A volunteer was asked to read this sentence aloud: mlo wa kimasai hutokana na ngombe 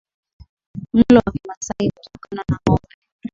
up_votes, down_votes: 4, 10